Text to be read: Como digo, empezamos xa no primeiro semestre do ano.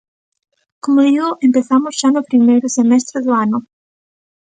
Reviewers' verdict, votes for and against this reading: accepted, 2, 0